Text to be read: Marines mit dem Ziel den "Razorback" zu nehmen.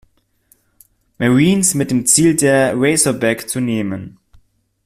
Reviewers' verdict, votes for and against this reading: rejected, 1, 2